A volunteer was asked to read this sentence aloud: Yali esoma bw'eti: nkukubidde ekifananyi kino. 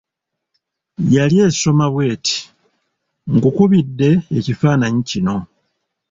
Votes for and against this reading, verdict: 2, 0, accepted